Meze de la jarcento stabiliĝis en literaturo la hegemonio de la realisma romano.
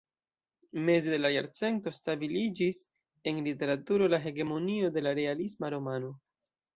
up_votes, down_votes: 2, 1